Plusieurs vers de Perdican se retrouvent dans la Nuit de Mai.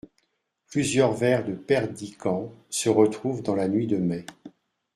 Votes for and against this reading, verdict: 2, 0, accepted